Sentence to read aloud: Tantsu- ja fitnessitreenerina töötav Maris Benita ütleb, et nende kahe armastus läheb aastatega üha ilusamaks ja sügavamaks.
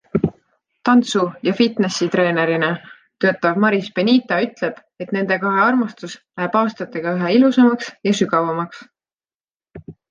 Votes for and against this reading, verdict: 2, 0, accepted